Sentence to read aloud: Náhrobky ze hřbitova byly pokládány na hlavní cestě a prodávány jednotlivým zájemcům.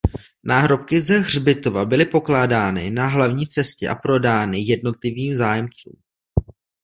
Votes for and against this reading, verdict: 0, 2, rejected